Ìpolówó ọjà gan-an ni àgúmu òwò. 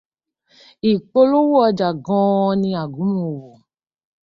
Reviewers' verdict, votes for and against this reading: accepted, 2, 0